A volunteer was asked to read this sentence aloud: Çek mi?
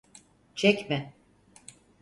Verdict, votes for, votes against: accepted, 4, 0